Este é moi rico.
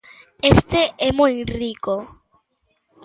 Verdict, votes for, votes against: accepted, 2, 0